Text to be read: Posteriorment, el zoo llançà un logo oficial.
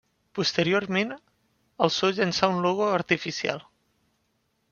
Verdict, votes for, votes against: rejected, 0, 2